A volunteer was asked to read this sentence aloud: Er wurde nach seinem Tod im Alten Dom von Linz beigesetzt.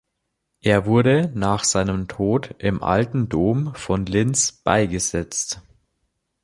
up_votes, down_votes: 2, 0